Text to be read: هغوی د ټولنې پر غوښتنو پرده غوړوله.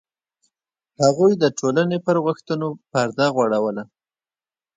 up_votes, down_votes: 1, 2